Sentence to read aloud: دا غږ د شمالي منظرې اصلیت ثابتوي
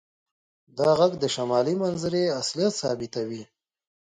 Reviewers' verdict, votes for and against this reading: rejected, 0, 2